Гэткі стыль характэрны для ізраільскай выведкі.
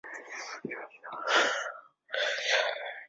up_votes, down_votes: 0, 2